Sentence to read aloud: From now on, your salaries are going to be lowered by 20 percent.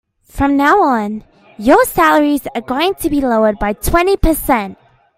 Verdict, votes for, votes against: rejected, 0, 2